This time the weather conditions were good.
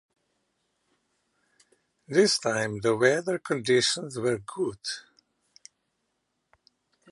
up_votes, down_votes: 2, 3